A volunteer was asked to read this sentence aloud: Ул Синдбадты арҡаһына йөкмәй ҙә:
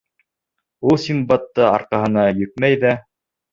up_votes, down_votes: 2, 0